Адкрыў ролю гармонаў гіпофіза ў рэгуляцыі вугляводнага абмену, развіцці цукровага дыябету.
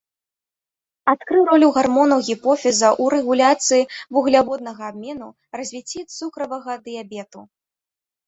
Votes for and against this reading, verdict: 0, 2, rejected